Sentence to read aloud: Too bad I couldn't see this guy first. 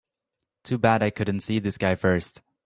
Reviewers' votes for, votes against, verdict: 3, 0, accepted